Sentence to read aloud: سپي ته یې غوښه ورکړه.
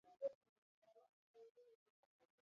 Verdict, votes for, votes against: rejected, 1, 2